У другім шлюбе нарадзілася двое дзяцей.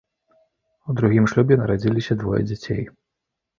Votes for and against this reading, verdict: 0, 2, rejected